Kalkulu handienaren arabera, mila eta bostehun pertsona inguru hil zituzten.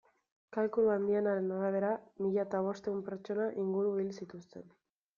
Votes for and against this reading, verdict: 2, 1, accepted